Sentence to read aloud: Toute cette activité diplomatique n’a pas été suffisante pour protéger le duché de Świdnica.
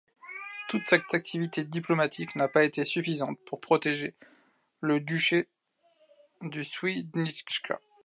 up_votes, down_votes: 2, 0